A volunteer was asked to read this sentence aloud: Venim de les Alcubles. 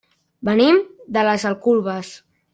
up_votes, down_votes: 1, 2